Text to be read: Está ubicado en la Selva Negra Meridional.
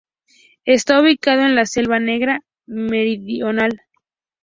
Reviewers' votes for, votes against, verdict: 4, 0, accepted